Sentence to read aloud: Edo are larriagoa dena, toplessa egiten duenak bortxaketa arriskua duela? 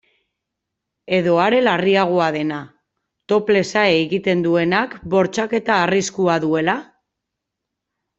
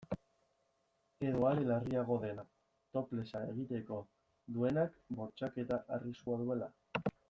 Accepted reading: first